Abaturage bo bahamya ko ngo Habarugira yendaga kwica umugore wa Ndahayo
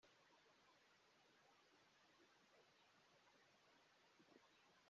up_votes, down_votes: 0, 2